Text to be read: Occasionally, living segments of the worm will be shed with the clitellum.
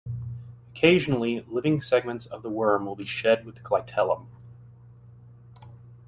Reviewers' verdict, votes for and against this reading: rejected, 1, 2